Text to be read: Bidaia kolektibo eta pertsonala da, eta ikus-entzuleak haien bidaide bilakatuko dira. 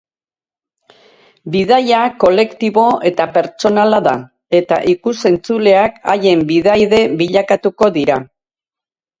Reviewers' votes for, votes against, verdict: 4, 0, accepted